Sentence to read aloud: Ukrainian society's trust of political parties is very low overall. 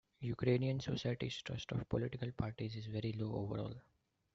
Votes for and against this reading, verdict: 2, 0, accepted